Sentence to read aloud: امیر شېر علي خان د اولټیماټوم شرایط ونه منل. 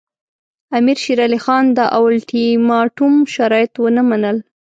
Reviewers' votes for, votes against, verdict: 2, 0, accepted